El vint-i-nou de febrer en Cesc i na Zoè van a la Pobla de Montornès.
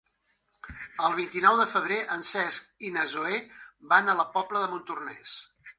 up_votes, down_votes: 3, 1